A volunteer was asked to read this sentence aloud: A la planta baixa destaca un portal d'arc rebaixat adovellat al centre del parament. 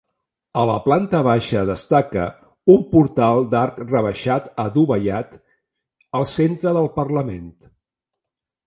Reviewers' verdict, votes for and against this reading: rejected, 1, 2